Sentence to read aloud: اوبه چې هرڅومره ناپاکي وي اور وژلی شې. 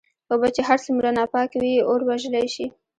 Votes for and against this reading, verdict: 2, 0, accepted